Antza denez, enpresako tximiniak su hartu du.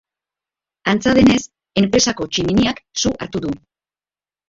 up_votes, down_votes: 3, 1